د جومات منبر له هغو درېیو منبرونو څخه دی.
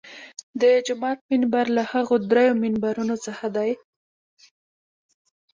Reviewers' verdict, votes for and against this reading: accepted, 2, 1